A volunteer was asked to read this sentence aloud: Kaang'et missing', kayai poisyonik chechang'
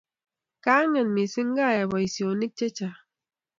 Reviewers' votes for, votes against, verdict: 2, 0, accepted